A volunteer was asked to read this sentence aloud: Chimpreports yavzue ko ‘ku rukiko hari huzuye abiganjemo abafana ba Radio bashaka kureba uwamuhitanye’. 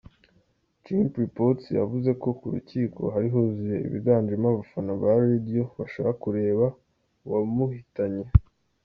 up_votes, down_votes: 2, 0